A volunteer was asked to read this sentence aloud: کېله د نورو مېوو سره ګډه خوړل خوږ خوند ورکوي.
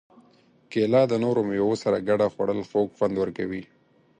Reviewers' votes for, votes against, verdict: 4, 0, accepted